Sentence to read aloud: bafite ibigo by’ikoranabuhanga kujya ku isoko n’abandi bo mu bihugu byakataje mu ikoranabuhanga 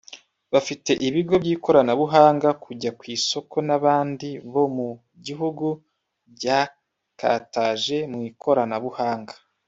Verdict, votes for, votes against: rejected, 1, 2